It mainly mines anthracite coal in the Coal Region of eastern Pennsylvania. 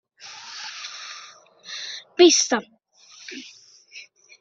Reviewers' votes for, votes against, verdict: 1, 2, rejected